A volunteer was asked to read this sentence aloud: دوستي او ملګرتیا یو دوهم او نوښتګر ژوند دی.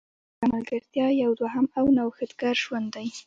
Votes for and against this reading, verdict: 0, 2, rejected